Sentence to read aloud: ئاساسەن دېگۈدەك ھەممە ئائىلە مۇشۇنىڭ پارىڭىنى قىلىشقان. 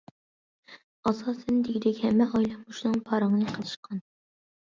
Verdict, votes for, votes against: accepted, 2, 0